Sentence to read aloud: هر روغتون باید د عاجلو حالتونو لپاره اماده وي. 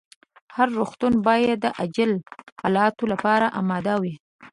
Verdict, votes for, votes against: rejected, 0, 2